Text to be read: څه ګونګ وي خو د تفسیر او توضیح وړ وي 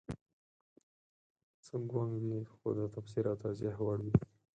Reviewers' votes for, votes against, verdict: 4, 0, accepted